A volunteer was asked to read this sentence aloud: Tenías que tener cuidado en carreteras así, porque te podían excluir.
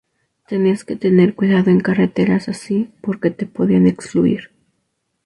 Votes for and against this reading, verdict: 2, 2, rejected